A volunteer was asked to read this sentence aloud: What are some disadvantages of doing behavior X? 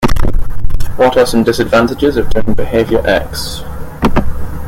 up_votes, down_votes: 0, 2